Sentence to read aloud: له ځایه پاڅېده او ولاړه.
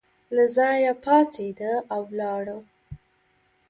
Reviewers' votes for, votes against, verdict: 3, 0, accepted